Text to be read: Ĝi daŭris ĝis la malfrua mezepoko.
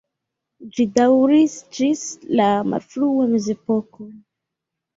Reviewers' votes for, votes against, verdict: 0, 2, rejected